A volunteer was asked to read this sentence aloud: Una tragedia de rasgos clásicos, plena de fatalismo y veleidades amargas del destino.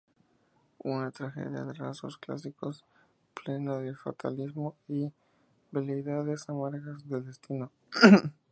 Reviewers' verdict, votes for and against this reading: accepted, 2, 0